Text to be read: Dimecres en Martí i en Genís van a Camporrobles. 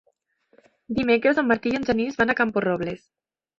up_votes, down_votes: 3, 0